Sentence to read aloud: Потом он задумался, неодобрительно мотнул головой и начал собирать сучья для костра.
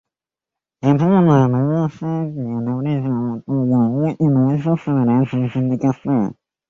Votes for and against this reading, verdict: 0, 2, rejected